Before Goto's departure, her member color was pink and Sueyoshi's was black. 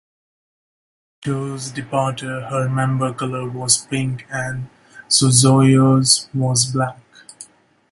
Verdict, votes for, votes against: rejected, 0, 2